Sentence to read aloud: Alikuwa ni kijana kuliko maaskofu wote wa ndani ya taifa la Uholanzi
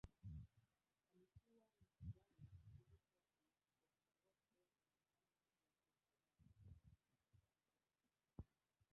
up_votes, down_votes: 0, 2